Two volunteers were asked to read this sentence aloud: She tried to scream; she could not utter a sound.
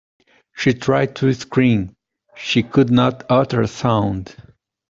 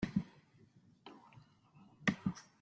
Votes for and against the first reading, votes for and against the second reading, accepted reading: 2, 0, 0, 2, first